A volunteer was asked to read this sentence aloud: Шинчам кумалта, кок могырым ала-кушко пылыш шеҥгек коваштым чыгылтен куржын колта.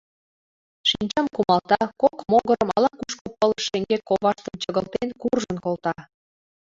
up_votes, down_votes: 2, 0